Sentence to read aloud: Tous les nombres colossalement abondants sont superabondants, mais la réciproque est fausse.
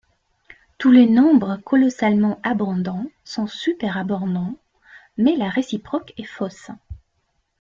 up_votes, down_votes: 0, 2